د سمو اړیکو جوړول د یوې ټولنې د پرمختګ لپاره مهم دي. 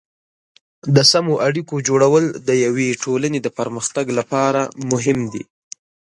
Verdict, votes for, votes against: accepted, 3, 0